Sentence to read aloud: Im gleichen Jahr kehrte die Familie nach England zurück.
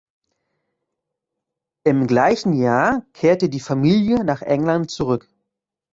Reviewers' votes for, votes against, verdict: 2, 0, accepted